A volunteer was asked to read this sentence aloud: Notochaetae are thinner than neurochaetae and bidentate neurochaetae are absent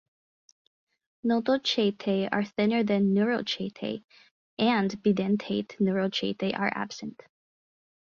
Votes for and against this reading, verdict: 4, 0, accepted